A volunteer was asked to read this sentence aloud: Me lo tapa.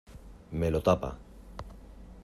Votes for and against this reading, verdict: 2, 0, accepted